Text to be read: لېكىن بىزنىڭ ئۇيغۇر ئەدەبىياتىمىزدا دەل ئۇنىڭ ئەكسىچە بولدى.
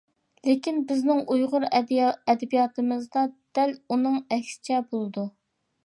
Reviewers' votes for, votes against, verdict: 0, 2, rejected